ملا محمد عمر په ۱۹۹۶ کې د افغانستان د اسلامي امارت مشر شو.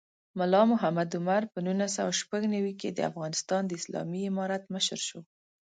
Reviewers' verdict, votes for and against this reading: rejected, 0, 2